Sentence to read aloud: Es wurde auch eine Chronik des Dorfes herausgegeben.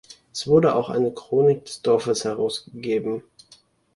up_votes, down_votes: 2, 0